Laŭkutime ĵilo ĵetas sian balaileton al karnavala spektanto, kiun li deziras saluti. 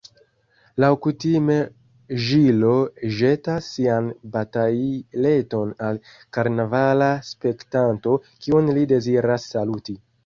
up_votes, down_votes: 1, 2